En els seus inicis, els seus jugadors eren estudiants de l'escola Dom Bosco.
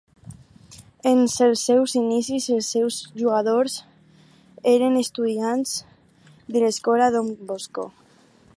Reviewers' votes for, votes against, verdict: 2, 2, rejected